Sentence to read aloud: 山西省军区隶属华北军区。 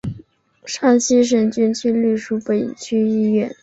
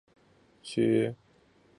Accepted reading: first